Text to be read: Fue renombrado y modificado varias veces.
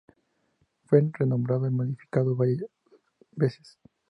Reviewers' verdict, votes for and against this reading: rejected, 0, 2